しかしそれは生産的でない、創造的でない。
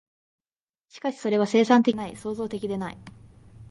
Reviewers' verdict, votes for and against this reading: accepted, 2, 1